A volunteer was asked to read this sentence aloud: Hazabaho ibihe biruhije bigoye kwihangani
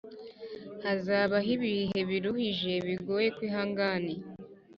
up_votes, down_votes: 3, 0